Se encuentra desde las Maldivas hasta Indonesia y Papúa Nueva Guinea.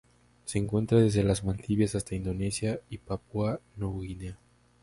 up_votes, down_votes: 2, 0